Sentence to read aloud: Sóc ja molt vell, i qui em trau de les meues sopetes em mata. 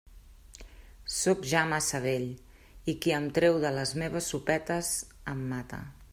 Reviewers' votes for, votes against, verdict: 0, 2, rejected